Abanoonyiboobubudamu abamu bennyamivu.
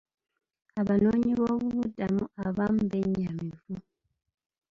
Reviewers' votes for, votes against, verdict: 1, 2, rejected